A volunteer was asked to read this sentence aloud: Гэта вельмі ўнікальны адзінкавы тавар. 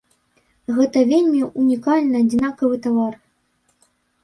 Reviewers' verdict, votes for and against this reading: rejected, 1, 2